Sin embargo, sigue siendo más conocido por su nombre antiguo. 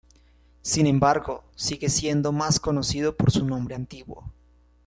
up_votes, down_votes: 1, 2